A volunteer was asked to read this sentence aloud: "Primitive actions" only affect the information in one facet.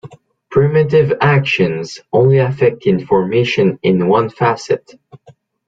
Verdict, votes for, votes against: rejected, 1, 2